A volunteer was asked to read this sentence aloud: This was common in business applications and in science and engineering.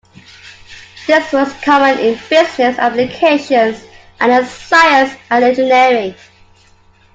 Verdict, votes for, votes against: accepted, 2, 0